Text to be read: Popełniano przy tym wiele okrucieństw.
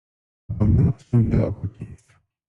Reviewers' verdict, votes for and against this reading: rejected, 0, 2